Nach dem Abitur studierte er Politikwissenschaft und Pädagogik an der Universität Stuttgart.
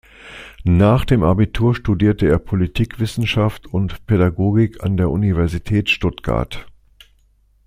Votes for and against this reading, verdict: 2, 0, accepted